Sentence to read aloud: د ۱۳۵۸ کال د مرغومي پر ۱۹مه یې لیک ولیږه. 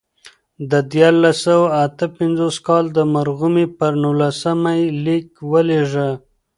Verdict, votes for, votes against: rejected, 0, 2